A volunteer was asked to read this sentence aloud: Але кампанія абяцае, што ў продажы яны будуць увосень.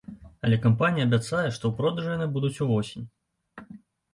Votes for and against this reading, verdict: 2, 0, accepted